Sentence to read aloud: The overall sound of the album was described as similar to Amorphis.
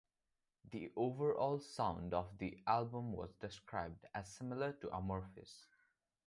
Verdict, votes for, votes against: accepted, 2, 0